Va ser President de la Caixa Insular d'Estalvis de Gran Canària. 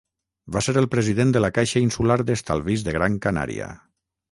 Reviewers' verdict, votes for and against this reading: rejected, 0, 6